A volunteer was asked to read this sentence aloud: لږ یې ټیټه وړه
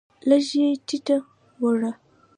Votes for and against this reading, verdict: 2, 0, accepted